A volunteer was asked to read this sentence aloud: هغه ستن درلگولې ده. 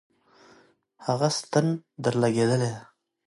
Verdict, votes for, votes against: accepted, 2, 0